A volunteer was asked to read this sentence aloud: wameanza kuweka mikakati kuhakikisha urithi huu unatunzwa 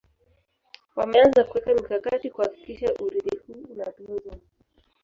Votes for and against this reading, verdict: 0, 2, rejected